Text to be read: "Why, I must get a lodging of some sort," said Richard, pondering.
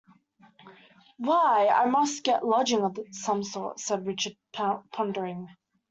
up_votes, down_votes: 1, 2